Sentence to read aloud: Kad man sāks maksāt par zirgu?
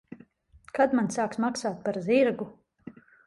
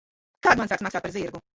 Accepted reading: first